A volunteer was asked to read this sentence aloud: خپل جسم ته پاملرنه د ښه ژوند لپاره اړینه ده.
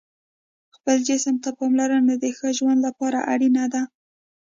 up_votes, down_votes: 2, 0